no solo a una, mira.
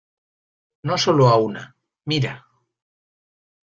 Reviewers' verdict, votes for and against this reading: accepted, 2, 0